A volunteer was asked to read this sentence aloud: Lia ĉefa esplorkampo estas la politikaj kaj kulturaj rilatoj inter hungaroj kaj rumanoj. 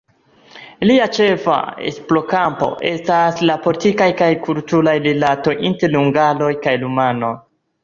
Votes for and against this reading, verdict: 1, 2, rejected